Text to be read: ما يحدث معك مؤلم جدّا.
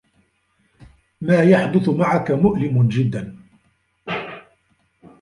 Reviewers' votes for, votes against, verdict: 2, 1, accepted